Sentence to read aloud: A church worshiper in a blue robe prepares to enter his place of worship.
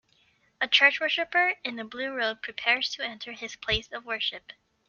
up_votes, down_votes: 2, 0